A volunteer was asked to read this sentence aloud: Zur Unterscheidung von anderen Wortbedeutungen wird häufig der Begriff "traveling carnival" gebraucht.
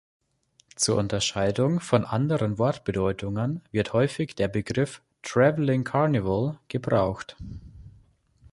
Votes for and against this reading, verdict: 2, 0, accepted